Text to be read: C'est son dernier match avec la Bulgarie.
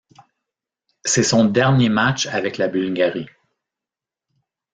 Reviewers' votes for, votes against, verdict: 2, 0, accepted